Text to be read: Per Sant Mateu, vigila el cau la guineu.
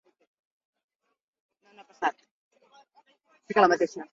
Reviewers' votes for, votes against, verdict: 0, 2, rejected